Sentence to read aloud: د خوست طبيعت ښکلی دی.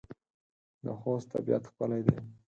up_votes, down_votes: 4, 0